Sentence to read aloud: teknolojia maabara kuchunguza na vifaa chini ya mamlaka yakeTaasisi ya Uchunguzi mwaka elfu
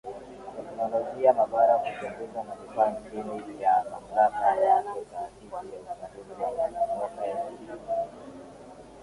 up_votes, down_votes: 0, 2